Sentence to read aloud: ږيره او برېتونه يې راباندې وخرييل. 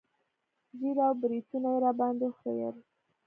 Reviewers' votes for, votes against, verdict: 2, 0, accepted